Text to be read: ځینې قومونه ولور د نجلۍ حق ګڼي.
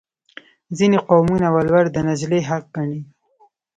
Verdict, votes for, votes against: rejected, 1, 2